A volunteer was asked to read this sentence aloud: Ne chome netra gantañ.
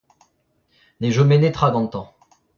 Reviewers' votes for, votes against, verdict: 1, 2, rejected